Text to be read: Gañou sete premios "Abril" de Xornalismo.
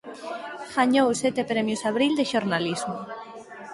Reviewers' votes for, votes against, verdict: 6, 0, accepted